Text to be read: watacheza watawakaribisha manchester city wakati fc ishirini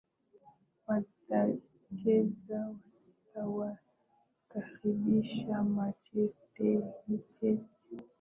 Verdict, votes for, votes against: rejected, 0, 2